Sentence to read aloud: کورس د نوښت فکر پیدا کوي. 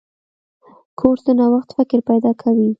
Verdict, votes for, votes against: accepted, 2, 0